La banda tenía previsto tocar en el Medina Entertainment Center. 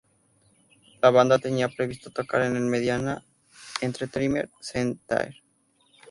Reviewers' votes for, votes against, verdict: 0, 2, rejected